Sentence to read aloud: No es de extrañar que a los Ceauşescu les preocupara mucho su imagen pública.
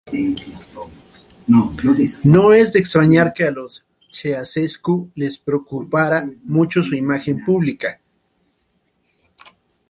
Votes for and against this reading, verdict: 1, 3, rejected